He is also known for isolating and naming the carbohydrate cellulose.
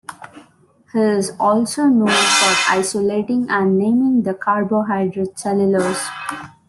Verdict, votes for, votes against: rejected, 2, 3